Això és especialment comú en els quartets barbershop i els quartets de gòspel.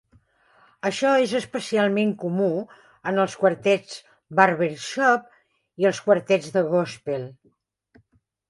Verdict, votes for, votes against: accepted, 3, 0